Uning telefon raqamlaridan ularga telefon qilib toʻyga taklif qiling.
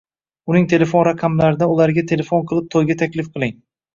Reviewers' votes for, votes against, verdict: 1, 2, rejected